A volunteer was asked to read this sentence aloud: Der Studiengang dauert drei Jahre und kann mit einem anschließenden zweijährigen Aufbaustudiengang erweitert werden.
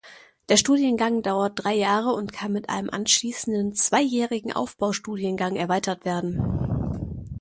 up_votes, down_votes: 2, 0